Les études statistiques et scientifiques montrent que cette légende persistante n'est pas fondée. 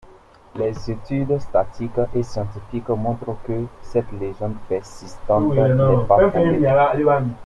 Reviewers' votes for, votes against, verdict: 0, 2, rejected